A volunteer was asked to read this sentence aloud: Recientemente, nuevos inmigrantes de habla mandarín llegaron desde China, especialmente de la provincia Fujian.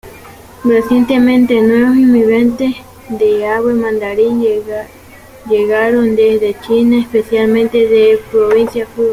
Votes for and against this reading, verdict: 1, 2, rejected